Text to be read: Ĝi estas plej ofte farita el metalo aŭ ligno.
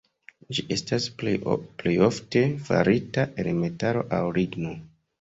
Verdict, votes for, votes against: rejected, 1, 2